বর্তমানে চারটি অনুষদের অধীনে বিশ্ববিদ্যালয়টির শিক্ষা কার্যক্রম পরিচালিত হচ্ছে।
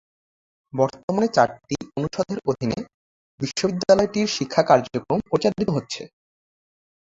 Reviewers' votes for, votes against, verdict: 2, 0, accepted